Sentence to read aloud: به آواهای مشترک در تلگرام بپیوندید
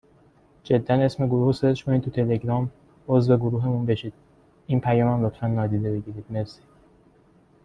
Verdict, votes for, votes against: rejected, 0, 3